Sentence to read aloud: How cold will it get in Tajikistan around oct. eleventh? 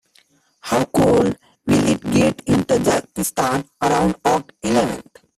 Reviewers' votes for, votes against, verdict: 0, 2, rejected